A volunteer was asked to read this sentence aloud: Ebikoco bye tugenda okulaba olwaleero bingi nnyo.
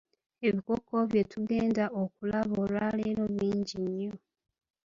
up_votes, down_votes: 1, 2